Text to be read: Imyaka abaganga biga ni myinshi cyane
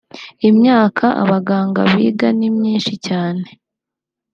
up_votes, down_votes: 2, 0